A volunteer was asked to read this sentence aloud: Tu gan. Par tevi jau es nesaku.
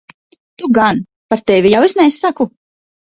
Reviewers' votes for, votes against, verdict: 4, 0, accepted